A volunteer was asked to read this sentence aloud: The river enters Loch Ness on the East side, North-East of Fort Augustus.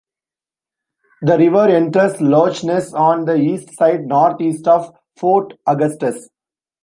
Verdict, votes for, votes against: rejected, 1, 2